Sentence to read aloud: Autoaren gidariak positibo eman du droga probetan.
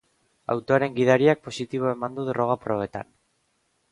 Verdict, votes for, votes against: accepted, 2, 0